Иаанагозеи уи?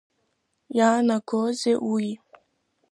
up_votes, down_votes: 3, 1